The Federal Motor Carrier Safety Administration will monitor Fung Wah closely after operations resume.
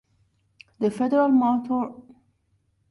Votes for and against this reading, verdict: 0, 2, rejected